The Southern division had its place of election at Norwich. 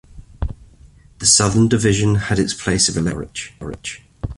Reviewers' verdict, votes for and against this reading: rejected, 0, 2